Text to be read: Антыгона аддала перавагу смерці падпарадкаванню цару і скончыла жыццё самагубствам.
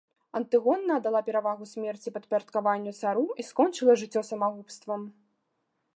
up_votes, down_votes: 2, 0